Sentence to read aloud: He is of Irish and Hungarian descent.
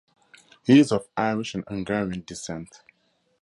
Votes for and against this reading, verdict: 2, 0, accepted